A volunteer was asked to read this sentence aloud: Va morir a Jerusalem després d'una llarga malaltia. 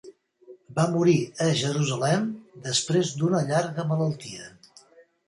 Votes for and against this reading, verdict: 3, 0, accepted